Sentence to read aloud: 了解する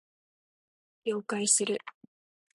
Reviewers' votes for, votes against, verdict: 2, 0, accepted